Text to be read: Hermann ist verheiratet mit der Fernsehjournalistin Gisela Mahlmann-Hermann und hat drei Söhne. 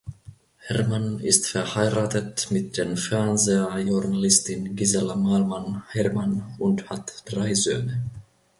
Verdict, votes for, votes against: rejected, 1, 2